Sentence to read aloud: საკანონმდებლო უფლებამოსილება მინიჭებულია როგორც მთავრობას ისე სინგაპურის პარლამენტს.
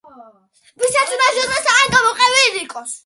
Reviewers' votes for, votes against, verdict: 0, 2, rejected